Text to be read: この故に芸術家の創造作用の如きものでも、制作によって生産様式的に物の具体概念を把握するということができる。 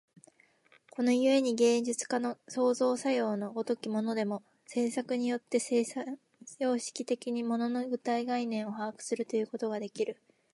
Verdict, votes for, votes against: accepted, 4, 0